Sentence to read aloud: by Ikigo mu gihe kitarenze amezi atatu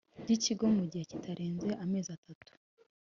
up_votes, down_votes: 2, 0